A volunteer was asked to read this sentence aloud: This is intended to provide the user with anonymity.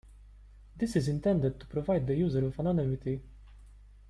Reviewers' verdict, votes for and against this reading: rejected, 1, 2